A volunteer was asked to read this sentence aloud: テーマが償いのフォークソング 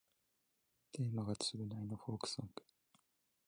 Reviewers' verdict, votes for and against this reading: rejected, 1, 2